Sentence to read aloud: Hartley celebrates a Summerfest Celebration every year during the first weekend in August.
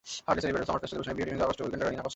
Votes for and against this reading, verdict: 0, 2, rejected